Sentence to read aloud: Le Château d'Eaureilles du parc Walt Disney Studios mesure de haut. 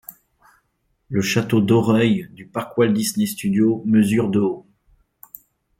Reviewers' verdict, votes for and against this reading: rejected, 0, 2